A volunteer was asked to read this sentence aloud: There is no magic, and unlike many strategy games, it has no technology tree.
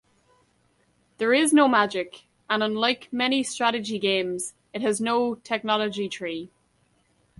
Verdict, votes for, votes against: accepted, 3, 0